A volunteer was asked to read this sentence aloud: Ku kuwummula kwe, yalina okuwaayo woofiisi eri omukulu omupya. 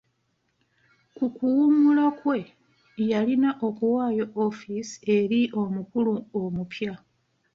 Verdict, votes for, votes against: rejected, 1, 2